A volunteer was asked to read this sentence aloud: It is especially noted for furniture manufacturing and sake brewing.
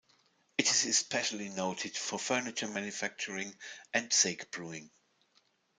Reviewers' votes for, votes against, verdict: 0, 2, rejected